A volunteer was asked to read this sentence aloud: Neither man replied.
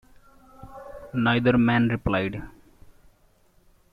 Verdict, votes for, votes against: accepted, 2, 0